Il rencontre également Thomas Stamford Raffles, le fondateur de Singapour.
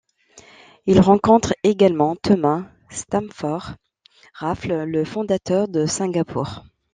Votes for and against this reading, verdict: 2, 0, accepted